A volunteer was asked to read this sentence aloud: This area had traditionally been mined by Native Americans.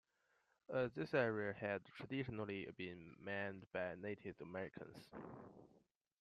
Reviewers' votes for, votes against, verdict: 2, 1, accepted